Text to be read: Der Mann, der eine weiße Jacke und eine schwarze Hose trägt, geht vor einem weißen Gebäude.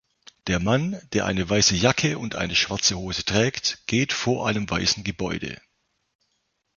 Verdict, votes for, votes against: accepted, 2, 0